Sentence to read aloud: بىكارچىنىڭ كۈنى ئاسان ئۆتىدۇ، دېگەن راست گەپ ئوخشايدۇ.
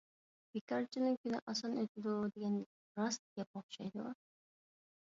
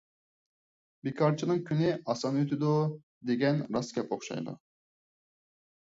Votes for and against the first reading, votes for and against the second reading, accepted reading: 1, 2, 4, 0, second